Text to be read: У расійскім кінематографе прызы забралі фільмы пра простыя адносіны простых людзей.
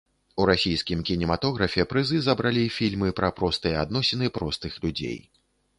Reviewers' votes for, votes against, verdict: 2, 0, accepted